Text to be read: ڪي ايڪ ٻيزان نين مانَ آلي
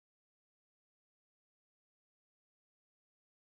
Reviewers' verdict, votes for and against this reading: rejected, 0, 2